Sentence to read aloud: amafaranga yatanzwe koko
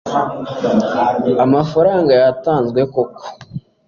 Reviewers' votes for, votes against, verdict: 2, 0, accepted